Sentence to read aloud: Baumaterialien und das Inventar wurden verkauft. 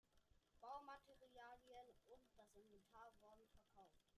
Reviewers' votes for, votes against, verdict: 1, 2, rejected